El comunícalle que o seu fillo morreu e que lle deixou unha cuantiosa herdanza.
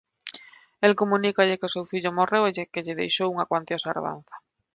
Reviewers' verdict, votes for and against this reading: rejected, 1, 2